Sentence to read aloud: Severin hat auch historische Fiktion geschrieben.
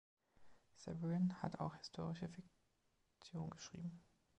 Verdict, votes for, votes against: rejected, 1, 2